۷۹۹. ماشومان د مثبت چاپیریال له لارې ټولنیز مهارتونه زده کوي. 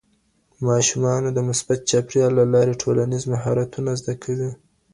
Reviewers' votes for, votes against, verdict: 0, 2, rejected